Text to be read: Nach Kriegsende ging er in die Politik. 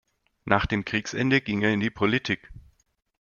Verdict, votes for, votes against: rejected, 1, 2